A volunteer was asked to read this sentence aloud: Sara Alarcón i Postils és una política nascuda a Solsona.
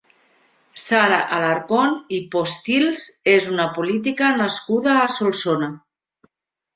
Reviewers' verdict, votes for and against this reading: accepted, 3, 0